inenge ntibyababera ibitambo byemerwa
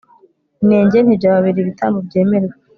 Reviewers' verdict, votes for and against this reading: accepted, 2, 0